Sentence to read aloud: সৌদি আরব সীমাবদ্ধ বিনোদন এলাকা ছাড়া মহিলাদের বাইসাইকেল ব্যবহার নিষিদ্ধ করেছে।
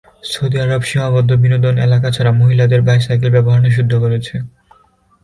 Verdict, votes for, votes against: accepted, 2, 0